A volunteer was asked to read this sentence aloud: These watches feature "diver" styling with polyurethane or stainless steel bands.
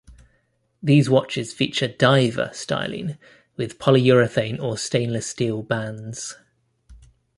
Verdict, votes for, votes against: accepted, 2, 0